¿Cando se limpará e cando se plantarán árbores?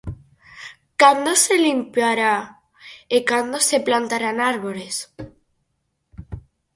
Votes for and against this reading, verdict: 4, 0, accepted